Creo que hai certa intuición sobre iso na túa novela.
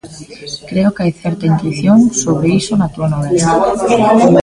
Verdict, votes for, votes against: rejected, 1, 2